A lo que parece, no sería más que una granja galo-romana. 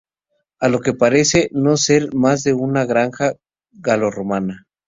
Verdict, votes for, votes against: rejected, 0, 2